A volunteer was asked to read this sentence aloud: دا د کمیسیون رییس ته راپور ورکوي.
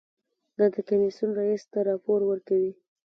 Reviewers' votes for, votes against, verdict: 2, 0, accepted